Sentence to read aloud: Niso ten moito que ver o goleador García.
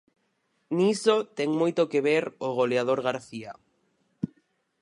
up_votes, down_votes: 4, 0